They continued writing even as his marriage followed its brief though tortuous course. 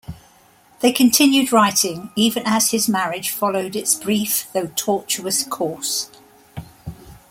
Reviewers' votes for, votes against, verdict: 3, 0, accepted